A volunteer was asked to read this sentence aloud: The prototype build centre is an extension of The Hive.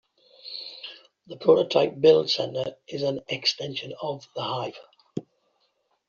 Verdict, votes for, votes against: accepted, 2, 1